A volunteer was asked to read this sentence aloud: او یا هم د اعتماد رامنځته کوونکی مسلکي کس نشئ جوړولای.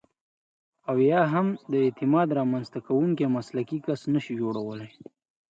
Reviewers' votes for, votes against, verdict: 2, 0, accepted